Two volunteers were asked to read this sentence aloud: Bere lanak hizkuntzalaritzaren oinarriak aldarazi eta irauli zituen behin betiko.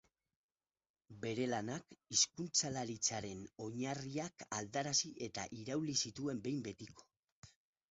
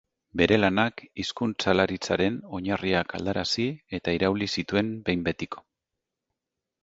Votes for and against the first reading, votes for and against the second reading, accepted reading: 0, 2, 2, 0, second